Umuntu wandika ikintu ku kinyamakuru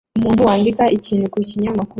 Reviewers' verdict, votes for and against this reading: accepted, 2, 0